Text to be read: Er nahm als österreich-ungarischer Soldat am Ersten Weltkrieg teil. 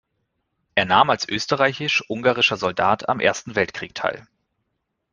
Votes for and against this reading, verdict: 2, 1, accepted